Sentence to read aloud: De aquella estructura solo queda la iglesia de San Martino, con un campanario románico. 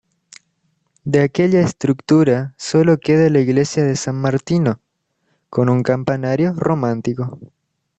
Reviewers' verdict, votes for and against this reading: rejected, 1, 2